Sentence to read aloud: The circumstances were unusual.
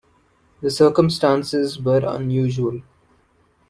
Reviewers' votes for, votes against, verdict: 2, 0, accepted